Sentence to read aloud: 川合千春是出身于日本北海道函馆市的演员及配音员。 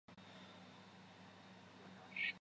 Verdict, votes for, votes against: rejected, 0, 2